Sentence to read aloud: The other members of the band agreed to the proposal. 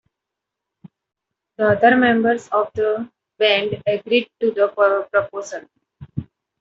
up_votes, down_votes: 1, 2